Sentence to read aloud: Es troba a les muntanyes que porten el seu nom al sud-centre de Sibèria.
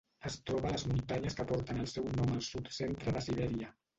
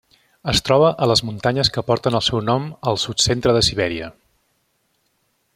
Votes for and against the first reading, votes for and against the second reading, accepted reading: 1, 2, 3, 0, second